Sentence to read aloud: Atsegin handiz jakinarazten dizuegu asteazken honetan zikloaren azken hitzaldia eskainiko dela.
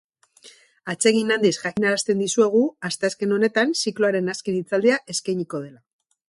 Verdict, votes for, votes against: rejected, 0, 2